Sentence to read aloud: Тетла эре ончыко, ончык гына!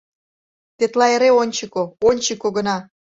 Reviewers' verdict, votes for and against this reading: rejected, 0, 2